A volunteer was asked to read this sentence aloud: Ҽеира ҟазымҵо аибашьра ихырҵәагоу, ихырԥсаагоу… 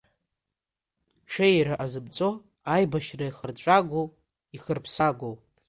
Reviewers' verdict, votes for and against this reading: rejected, 1, 2